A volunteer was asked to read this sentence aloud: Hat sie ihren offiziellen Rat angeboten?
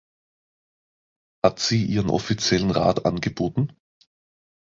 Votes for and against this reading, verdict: 2, 0, accepted